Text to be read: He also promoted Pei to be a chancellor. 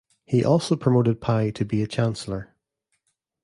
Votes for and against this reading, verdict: 2, 1, accepted